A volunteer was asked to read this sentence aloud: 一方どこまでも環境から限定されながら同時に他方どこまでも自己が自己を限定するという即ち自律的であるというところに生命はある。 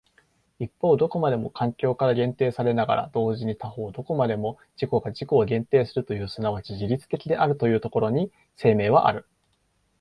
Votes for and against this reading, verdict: 2, 0, accepted